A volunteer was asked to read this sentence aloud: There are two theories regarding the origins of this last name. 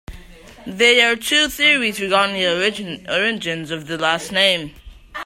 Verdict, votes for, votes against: accepted, 2, 0